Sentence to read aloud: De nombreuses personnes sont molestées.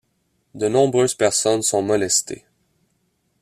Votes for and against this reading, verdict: 2, 0, accepted